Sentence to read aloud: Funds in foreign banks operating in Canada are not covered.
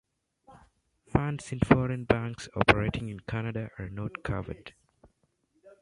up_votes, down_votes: 2, 0